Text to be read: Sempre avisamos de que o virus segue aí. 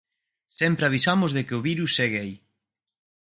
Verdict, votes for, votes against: accepted, 4, 0